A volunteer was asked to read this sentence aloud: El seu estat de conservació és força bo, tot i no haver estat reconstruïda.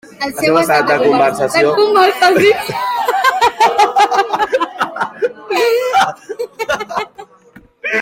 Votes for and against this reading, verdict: 0, 2, rejected